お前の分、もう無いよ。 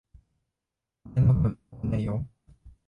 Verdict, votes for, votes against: rejected, 0, 2